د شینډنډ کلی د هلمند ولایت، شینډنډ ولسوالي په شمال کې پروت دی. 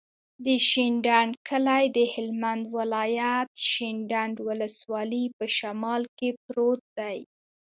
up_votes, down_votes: 2, 0